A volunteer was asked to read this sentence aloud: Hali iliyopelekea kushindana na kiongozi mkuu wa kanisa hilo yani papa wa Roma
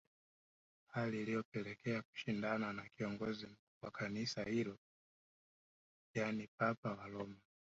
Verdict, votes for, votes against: rejected, 0, 2